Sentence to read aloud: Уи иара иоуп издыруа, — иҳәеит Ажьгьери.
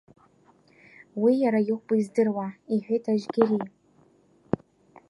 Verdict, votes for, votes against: rejected, 1, 2